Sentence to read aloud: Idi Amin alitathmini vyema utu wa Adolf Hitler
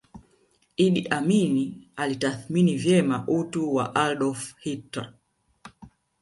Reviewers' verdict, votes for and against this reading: accepted, 3, 0